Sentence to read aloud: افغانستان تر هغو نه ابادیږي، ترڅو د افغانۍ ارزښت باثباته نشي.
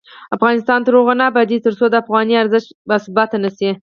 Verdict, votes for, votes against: rejected, 6, 8